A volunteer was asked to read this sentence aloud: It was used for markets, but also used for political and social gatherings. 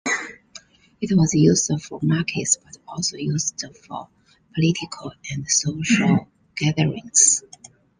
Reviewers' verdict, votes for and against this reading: accepted, 2, 0